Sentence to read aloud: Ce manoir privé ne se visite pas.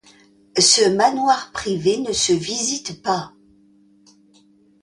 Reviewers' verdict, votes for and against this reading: accepted, 2, 0